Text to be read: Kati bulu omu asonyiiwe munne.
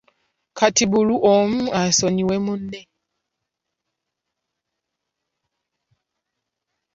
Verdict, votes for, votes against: rejected, 1, 2